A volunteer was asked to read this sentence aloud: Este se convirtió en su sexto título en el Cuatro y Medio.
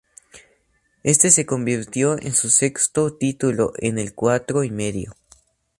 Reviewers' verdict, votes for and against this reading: accepted, 2, 0